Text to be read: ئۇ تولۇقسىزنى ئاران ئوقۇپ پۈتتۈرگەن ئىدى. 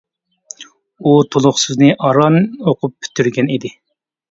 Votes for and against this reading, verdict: 2, 0, accepted